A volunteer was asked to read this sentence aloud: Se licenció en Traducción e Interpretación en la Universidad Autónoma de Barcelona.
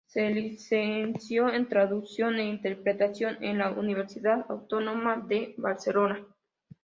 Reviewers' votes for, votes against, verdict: 2, 0, accepted